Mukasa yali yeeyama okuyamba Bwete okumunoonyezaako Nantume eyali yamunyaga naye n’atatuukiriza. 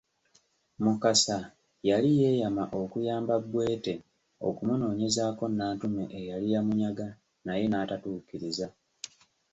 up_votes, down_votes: 2, 0